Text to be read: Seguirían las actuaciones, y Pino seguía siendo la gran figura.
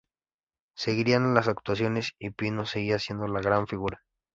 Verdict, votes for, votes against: accepted, 2, 0